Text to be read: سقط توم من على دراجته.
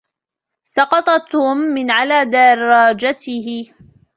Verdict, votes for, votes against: rejected, 1, 2